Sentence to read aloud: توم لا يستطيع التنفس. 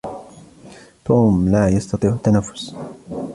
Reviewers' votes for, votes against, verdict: 2, 0, accepted